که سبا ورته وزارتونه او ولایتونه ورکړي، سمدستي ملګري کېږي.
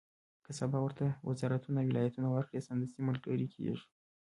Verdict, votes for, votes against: rejected, 1, 2